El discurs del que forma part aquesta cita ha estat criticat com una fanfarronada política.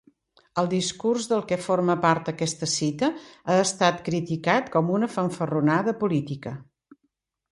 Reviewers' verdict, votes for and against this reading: accepted, 2, 0